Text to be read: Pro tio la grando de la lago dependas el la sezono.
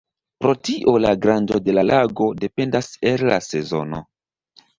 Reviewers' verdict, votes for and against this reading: rejected, 1, 2